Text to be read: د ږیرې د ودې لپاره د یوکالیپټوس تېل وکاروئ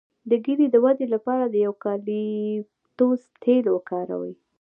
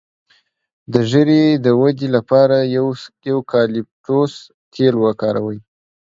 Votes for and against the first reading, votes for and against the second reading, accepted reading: 1, 3, 2, 0, second